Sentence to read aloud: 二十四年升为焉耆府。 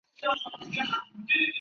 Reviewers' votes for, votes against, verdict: 0, 2, rejected